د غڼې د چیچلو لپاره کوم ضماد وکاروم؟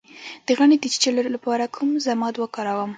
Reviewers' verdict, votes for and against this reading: accepted, 2, 0